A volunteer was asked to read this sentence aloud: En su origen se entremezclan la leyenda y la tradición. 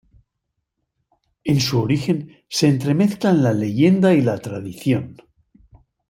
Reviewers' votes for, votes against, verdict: 2, 0, accepted